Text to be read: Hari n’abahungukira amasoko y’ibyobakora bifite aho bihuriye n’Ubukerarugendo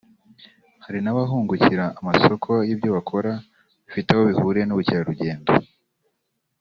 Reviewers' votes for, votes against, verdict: 2, 0, accepted